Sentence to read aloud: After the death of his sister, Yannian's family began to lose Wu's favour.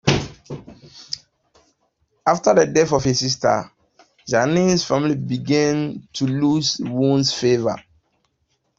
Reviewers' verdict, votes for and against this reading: accepted, 2, 0